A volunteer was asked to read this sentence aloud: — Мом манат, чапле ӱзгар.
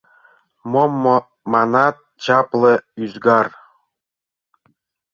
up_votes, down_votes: 0, 2